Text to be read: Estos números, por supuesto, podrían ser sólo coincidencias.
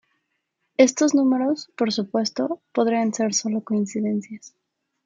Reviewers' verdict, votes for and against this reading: accepted, 2, 0